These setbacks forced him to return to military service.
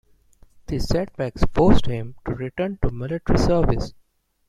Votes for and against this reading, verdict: 2, 1, accepted